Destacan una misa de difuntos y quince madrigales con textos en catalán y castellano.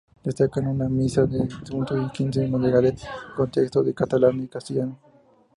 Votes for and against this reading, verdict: 2, 0, accepted